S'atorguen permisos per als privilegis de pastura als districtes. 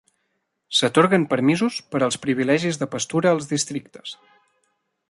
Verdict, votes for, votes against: rejected, 1, 2